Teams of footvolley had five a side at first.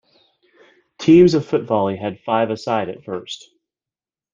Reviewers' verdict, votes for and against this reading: accepted, 2, 0